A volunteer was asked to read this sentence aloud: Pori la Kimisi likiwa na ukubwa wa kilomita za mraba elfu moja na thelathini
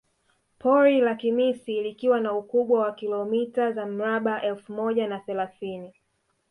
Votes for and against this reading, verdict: 2, 1, accepted